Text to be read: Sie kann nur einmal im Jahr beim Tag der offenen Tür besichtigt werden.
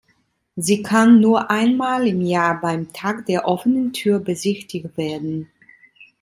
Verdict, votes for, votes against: rejected, 1, 2